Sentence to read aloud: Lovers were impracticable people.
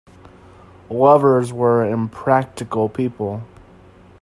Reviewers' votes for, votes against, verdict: 0, 2, rejected